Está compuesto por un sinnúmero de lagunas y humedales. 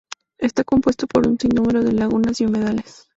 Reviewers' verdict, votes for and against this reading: accepted, 4, 0